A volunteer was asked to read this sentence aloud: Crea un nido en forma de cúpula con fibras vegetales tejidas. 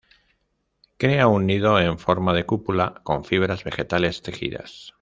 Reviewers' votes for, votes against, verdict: 2, 0, accepted